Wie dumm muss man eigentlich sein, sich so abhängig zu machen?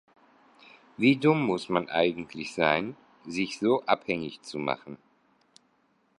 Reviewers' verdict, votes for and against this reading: accepted, 2, 0